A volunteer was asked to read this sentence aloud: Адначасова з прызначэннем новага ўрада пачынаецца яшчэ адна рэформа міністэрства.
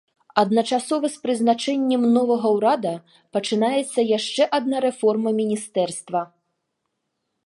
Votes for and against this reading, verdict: 2, 0, accepted